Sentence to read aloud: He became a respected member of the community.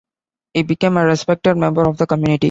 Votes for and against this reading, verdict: 2, 0, accepted